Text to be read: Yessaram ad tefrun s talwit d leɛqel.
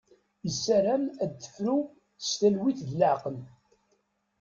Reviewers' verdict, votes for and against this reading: rejected, 1, 2